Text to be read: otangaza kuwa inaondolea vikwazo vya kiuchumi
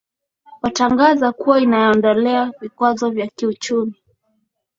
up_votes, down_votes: 2, 0